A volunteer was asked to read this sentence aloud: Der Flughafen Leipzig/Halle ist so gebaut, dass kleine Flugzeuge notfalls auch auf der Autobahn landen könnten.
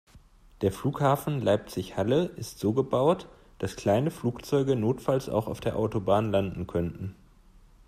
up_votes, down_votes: 2, 0